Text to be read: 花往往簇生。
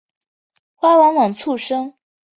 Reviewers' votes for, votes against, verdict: 8, 0, accepted